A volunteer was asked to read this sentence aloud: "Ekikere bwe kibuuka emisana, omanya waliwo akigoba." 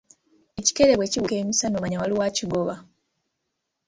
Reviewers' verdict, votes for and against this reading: accepted, 2, 0